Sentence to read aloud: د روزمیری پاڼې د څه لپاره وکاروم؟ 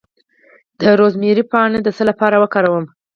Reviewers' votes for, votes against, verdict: 4, 2, accepted